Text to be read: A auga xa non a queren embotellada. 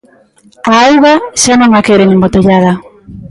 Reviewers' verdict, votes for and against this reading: accepted, 2, 0